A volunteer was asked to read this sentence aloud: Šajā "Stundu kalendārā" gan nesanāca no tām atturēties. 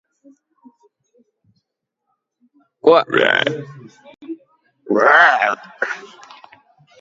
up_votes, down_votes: 0, 2